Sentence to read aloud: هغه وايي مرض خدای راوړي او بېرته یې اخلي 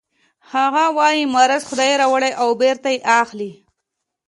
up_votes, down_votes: 3, 0